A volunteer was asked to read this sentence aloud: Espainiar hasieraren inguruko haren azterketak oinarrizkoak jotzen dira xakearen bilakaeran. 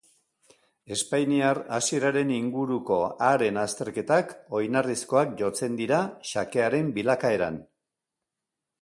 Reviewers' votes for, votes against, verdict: 2, 0, accepted